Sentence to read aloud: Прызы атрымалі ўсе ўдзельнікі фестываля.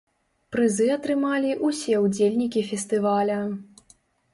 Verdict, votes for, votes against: accepted, 2, 0